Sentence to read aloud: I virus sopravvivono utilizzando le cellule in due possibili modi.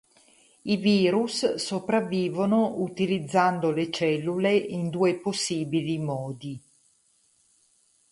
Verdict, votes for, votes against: accepted, 4, 0